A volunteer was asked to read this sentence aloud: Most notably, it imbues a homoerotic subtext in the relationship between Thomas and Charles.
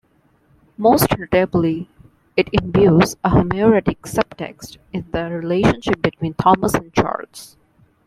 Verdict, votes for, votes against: rejected, 0, 2